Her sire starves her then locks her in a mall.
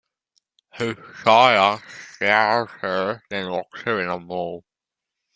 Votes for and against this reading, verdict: 0, 2, rejected